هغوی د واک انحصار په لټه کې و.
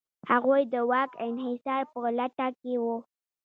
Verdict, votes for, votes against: accepted, 2, 0